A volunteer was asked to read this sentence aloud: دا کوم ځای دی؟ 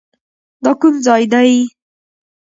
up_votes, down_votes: 0, 2